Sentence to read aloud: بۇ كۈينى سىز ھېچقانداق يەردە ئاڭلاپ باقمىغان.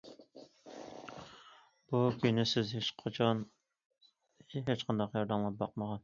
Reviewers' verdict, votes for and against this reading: rejected, 0, 2